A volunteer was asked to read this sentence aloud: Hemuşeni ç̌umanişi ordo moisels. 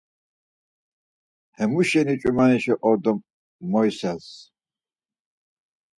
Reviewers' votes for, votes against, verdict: 4, 0, accepted